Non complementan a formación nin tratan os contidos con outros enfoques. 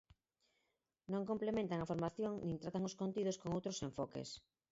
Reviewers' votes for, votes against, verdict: 4, 2, accepted